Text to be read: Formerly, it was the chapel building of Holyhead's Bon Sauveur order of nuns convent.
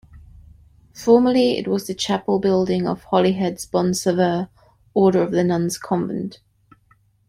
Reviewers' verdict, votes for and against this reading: rejected, 0, 2